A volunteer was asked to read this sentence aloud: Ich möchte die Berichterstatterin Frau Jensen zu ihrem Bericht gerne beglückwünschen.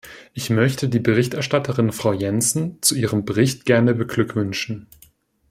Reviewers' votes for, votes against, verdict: 2, 0, accepted